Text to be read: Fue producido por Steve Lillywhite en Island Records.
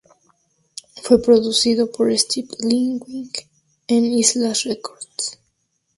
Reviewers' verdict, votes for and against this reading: rejected, 0, 2